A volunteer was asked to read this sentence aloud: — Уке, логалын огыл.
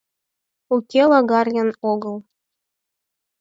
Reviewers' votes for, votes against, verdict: 0, 4, rejected